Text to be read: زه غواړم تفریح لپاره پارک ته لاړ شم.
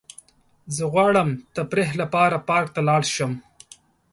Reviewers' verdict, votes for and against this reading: accepted, 2, 0